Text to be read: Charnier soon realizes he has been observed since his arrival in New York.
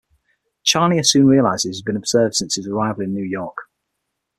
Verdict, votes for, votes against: accepted, 6, 0